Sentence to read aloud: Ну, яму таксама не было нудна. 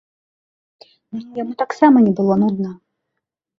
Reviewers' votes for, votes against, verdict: 2, 3, rejected